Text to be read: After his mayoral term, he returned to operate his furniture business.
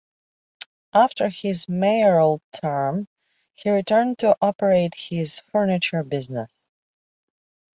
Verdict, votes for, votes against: accepted, 2, 0